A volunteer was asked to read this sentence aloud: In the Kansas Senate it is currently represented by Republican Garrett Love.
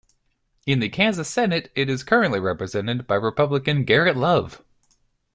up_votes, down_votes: 2, 0